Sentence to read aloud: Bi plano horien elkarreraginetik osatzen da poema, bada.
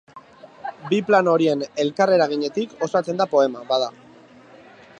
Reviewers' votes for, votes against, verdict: 2, 0, accepted